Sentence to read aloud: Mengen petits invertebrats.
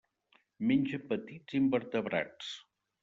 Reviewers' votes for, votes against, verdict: 1, 2, rejected